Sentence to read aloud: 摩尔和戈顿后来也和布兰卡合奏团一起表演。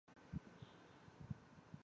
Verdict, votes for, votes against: rejected, 0, 5